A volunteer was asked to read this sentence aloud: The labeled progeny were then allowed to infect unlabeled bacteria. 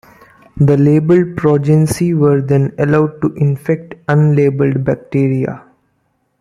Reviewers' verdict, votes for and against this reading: accepted, 2, 0